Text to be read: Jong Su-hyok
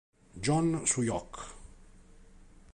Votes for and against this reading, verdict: 2, 1, accepted